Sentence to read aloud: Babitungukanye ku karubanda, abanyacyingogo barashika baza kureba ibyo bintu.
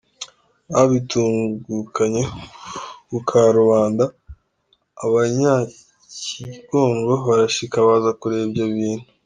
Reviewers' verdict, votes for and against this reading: rejected, 0, 2